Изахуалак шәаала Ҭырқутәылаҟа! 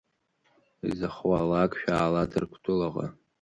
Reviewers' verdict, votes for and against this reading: accepted, 2, 0